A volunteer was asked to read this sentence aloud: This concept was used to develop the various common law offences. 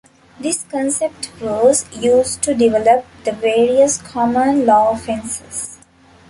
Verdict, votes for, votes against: accepted, 2, 0